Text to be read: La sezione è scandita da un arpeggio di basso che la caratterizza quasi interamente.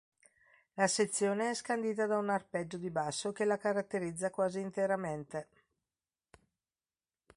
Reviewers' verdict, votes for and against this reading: accepted, 3, 0